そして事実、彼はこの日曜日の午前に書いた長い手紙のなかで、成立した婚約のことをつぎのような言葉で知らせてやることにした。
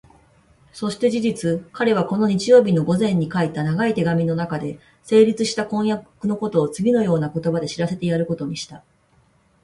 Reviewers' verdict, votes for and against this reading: rejected, 0, 2